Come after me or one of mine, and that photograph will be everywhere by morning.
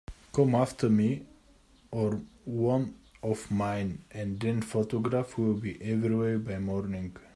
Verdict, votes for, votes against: rejected, 0, 2